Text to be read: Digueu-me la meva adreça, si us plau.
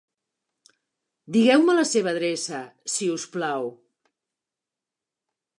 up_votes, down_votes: 0, 2